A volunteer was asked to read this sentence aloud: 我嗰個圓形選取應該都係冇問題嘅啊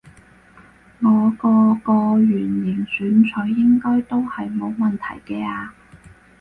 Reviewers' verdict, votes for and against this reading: rejected, 2, 4